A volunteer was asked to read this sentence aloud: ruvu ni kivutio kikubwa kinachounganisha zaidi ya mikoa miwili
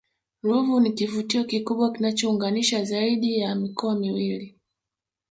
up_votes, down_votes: 0, 2